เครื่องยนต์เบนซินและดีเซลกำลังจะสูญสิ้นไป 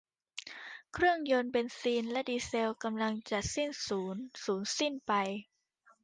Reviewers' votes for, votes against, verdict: 0, 2, rejected